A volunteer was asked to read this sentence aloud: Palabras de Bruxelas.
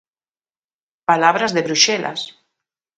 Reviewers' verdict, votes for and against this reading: accepted, 2, 0